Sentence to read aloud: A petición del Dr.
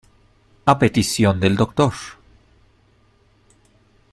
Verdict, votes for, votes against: accepted, 2, 0